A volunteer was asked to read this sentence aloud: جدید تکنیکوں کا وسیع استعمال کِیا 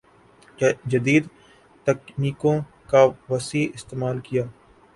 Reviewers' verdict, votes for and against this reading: rejected, 1, 2